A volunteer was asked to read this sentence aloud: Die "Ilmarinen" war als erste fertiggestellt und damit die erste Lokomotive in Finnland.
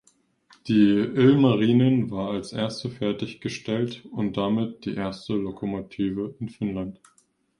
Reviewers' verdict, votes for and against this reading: accepted, 2, 0